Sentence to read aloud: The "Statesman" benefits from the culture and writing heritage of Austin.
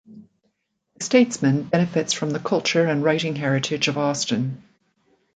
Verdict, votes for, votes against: rejected, 1, 2